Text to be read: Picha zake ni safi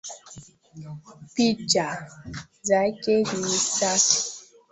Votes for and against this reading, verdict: 2, 0, accepted